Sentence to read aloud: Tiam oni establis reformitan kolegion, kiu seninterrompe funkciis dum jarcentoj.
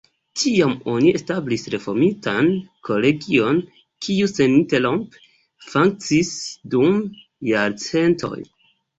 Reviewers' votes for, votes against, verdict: 2, 0, accepted